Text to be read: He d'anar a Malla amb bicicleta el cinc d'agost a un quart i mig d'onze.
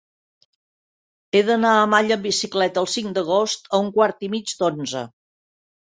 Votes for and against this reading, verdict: 2, 0, accepted